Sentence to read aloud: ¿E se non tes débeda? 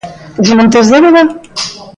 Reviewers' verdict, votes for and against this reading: rejected, 1, 2